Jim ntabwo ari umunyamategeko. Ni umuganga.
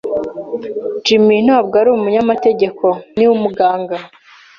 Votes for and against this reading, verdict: 3, 0, accepted